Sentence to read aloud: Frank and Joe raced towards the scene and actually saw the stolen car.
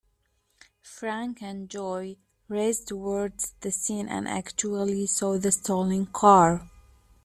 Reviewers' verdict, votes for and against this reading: rejected, 0, 2